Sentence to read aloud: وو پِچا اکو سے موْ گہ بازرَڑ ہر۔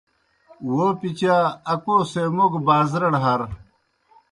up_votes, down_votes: 2, 0